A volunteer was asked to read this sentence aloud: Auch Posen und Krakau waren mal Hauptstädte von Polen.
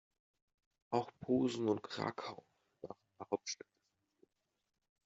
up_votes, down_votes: 0, 2